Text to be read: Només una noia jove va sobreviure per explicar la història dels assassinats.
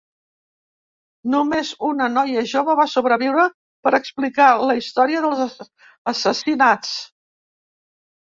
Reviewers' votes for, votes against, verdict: 0, 2, rejected